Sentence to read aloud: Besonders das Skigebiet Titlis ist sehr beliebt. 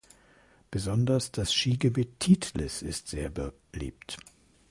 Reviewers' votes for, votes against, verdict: 0, 2, rejected